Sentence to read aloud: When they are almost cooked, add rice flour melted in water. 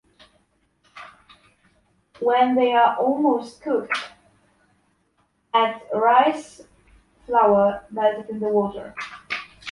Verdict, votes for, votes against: rejected, 1, 2